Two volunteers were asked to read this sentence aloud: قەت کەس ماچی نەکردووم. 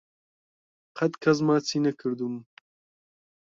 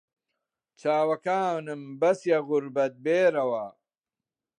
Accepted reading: first